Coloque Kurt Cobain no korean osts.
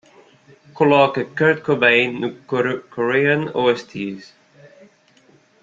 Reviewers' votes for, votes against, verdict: 0, 2, rejected